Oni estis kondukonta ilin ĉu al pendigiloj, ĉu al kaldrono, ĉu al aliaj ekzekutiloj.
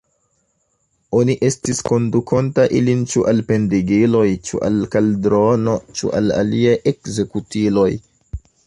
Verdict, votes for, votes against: rejected, 0, 2